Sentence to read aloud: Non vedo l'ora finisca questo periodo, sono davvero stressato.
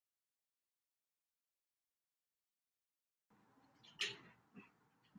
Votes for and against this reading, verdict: 0, 2, rejected